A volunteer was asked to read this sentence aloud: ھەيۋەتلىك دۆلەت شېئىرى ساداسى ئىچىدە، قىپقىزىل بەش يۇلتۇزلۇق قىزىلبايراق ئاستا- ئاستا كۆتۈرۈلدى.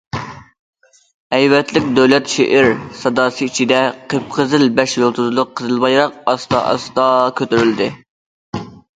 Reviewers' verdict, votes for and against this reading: rejected, 0, 2